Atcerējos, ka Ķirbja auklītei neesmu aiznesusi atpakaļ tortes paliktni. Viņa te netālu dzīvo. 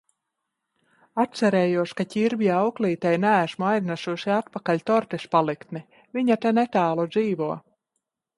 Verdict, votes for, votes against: rejected, 1, 2